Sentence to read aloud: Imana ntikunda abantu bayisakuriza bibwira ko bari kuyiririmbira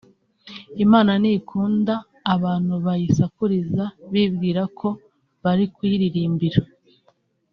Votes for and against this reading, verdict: 3, 0, accepted